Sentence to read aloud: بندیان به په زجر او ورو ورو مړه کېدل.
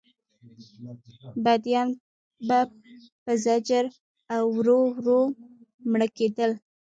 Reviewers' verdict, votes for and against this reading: rejected, 0, 2